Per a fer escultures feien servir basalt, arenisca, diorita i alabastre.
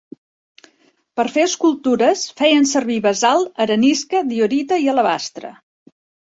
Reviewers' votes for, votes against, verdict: 1, 2, rejected